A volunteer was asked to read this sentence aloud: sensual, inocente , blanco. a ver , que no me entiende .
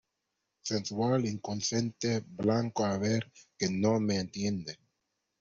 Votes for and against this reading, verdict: 1, 2, rejected